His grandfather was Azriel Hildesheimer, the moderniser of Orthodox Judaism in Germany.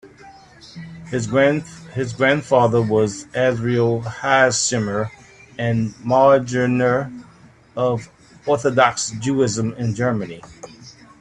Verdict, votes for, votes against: rejected, 0, 2